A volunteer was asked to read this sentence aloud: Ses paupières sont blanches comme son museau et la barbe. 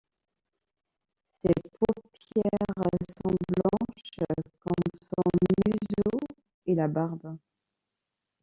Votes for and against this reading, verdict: 0, 2, rejected